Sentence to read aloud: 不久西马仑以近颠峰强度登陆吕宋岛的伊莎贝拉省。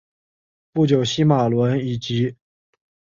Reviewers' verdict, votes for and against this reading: accepted, 4, 2